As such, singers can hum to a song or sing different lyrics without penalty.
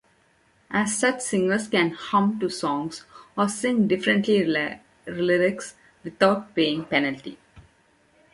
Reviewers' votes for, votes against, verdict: 0, 3, rejected